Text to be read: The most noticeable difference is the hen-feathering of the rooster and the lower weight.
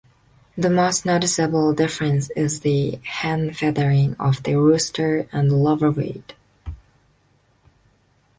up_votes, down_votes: 2, 0